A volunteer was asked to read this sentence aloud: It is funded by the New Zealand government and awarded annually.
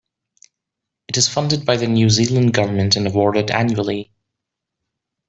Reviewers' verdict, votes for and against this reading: accepted, 2, 0